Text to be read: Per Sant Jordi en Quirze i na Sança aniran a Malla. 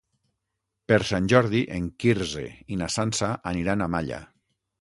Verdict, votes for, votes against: accepted, 6, 0